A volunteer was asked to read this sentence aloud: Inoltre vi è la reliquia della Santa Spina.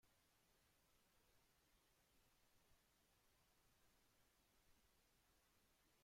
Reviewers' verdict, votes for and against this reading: rejected, 0, 2